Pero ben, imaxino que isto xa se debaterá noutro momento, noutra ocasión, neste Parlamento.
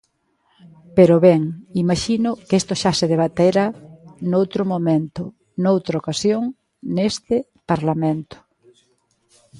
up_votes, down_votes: 0, 2